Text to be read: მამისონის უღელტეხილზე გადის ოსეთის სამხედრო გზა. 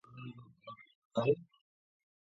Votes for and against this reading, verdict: 0, 3, rejected